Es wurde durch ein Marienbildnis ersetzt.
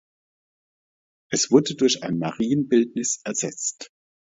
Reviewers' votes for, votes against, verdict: 2, 0, accepted